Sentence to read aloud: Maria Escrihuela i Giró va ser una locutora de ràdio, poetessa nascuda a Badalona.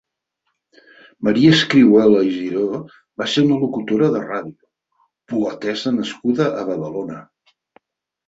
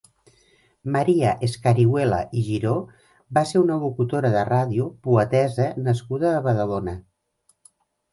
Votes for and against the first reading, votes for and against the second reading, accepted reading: 4, 0, 0, 2, first